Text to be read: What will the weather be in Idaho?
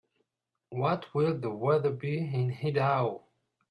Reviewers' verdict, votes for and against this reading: rejected, 0, 2